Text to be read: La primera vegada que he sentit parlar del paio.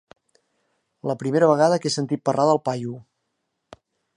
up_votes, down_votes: 2, 0